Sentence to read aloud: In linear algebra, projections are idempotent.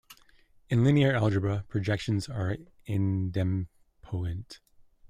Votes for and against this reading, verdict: 0, 2, rejected